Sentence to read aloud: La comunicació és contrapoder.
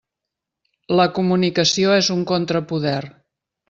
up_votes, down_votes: 0, 2